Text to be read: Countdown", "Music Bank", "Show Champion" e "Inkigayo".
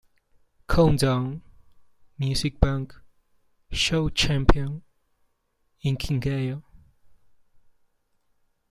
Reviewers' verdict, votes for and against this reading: rejected, 1, 2